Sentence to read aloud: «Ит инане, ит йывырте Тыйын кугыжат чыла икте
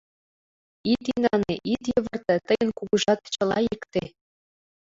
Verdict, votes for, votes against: accepted, 2, 0